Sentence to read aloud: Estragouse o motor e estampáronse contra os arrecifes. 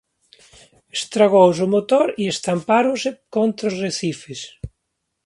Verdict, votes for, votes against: accepted, 2, 0